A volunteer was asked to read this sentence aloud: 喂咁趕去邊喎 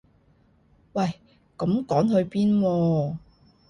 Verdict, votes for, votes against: rejected, 0, 2